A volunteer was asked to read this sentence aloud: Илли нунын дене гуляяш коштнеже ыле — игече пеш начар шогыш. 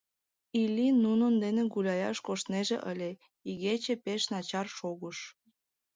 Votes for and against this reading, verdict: 2, 0, accepted